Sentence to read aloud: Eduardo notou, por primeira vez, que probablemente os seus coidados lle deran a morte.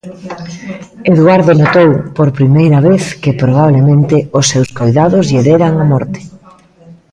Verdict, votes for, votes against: rejected, 1, 2